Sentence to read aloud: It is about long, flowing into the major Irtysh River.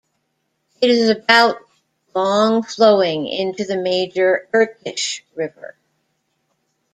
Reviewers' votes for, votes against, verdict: 1, 2, rejected